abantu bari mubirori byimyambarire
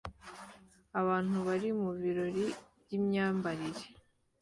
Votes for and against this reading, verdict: 2, 0, accepted